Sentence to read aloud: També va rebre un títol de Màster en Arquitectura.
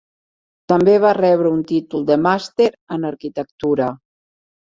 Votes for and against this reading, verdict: 3, 0, accepted